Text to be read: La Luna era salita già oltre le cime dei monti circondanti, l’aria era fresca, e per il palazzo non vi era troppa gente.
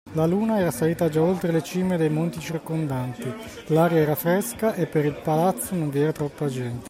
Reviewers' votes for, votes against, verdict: 2, 1, accepted